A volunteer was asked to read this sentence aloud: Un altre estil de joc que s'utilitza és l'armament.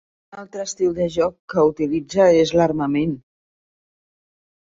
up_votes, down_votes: 1, 2